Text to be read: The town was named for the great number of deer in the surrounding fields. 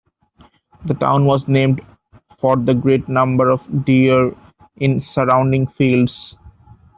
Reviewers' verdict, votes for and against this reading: rejected, 1, 2